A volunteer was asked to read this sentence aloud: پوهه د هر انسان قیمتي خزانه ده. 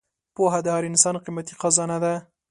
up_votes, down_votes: 2, 0